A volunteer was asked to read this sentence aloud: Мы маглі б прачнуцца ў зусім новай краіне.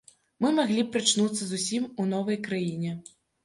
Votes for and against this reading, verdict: 1, 2, rejected